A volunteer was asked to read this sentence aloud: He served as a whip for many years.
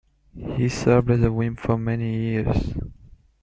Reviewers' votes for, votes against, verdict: 0, 2, rejected